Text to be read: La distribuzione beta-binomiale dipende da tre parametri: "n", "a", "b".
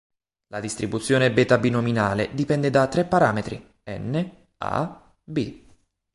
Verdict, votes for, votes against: rejected, 0, 2